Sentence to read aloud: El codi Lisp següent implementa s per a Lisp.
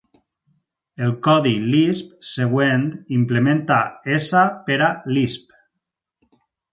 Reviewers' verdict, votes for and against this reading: accepted, 4, 0